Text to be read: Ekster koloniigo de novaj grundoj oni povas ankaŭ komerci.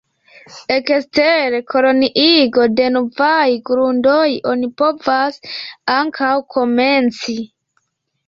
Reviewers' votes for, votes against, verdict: 1, 2, rejected